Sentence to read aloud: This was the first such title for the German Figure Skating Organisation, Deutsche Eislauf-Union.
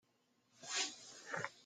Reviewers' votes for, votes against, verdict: 0, 2, rejected